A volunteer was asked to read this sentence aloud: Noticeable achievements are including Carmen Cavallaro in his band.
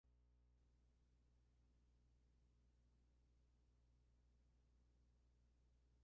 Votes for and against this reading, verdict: 0, 2, rejected